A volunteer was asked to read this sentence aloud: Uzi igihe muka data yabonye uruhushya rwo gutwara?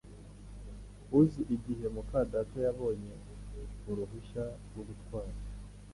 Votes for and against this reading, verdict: 1, 2, rejected